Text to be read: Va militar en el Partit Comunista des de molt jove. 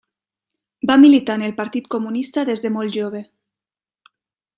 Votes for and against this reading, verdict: 3, 0, accepted